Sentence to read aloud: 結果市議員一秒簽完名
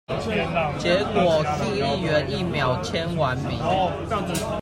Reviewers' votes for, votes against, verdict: 1, 2, rejected